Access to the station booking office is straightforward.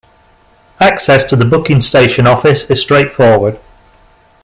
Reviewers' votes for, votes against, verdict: 0, 2, rejected